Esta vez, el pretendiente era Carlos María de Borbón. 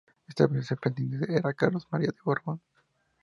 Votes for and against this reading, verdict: 0, 2, rejected